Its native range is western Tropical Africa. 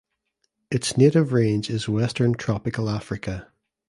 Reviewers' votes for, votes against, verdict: 2, 0, accepted